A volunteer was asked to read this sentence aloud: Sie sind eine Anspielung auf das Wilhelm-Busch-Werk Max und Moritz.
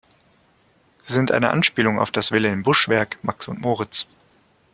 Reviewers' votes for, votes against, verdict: 0, 2, rejected